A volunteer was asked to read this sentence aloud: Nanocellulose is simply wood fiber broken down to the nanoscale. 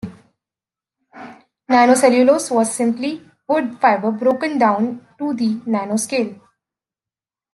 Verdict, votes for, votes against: rejected, 0, 2